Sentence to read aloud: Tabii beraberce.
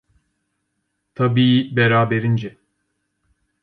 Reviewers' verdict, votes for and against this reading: rejected, 0, 2